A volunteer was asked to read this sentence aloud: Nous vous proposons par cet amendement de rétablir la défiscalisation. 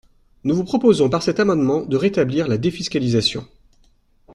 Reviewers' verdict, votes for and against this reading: accepted, 2, 0